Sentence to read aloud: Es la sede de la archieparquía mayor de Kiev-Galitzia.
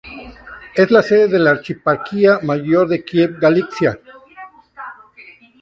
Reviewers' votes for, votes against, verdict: 0, 2, rejected